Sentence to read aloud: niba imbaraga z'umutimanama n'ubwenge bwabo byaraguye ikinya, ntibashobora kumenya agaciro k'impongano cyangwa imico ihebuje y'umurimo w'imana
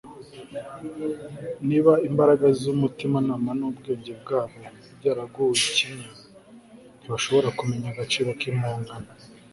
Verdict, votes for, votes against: rejected, 0, 2